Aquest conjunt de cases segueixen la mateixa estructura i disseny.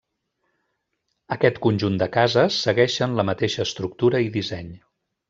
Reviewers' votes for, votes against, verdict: 1, 2, rejected